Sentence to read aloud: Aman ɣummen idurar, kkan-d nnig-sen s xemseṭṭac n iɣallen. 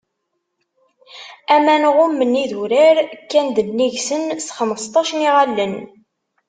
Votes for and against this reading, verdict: 2, 0, accepted